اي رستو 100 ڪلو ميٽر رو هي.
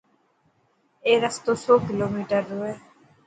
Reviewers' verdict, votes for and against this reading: rejected, 0, 2